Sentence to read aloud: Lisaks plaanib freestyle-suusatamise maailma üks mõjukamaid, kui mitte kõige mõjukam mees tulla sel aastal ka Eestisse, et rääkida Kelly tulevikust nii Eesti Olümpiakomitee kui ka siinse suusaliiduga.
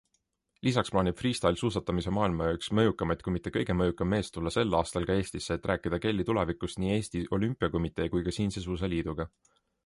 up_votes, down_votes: 2, 0